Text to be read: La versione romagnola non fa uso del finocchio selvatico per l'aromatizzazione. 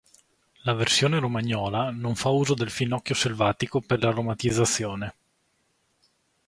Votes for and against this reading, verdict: 2, 0, accepted